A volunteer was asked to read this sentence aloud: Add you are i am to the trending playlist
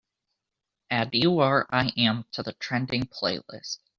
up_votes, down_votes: 2, 0